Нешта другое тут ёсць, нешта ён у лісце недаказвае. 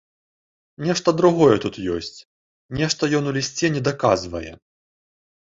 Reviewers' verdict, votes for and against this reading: accepted, 2, 0